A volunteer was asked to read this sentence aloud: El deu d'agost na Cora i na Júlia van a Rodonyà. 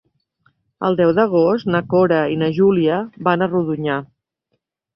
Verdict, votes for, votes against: accepted, 3, 0